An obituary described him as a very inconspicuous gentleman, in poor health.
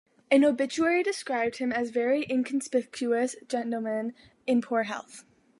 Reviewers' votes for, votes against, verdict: 1, 2, rejected